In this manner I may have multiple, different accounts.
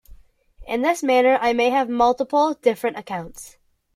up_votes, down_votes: 2, 0